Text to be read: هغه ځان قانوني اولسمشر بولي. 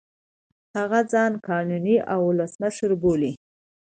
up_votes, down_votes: 2, 0